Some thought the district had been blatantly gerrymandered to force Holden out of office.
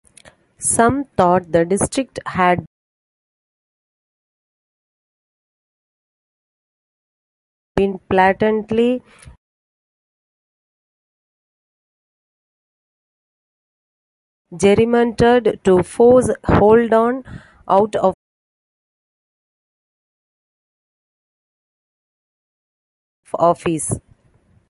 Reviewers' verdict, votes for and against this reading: rejected, 0, 2